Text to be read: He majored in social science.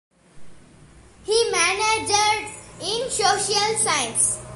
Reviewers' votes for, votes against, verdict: 0, 2, rejected